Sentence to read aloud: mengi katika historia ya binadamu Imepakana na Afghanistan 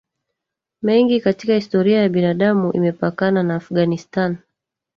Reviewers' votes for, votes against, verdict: 2, 1, accepted